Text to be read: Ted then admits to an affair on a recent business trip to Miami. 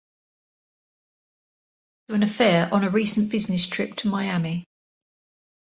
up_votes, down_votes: 0, 2